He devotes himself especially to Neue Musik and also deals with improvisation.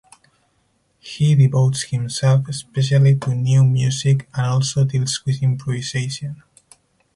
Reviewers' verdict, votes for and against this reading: rejected, 2, 2